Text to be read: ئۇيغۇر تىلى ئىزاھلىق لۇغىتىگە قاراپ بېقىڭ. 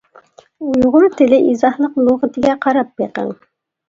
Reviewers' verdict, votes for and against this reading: accepted, 2, 0